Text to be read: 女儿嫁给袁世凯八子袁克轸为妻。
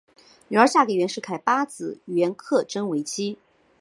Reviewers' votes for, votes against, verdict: 2, 0, accepted